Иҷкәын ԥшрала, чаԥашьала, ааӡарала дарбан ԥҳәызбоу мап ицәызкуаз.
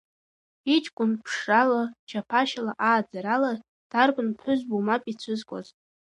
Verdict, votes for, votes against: accepted, 2, 1